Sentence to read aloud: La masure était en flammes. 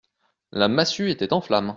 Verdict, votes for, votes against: rejected, 1, 2